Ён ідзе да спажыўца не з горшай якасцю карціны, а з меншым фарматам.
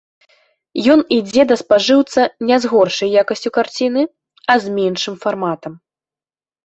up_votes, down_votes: 0, 2